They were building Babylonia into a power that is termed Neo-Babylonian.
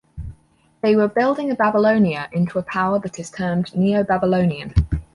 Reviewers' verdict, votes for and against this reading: accepted, 4, 2